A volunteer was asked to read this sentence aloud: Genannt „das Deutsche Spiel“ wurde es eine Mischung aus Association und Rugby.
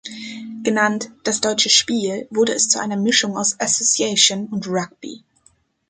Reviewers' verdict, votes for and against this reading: accepted, 2, 1